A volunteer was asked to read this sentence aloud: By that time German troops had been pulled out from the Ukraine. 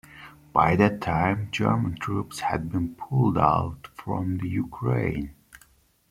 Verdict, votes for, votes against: rejected, 1, 2